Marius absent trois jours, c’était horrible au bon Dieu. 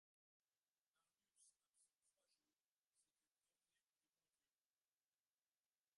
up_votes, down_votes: 0, 2